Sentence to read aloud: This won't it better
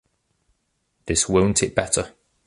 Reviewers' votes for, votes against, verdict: 2, 0, accepted